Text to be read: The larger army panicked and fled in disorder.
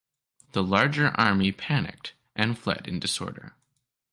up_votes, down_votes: 2, 0